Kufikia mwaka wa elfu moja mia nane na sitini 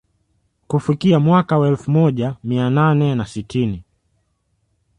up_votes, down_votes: 2, 0